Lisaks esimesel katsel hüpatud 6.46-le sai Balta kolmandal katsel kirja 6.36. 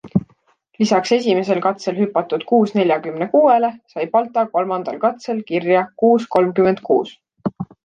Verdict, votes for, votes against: rejected, 0, 2